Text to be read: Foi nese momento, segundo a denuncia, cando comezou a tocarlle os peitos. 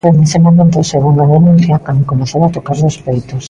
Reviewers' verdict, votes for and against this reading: accepted, 2, 0